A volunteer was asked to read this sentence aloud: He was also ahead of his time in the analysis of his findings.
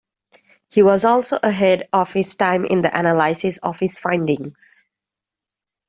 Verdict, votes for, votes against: accepted, 2, 1